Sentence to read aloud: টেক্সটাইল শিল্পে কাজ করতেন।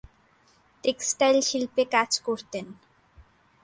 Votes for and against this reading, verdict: 5, 0, accepted